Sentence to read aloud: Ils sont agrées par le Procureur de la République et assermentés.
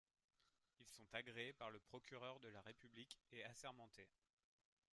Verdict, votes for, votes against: accepted, 2, 1